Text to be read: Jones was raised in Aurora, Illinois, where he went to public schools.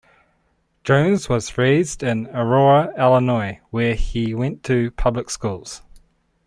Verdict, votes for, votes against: accepted, 2, 0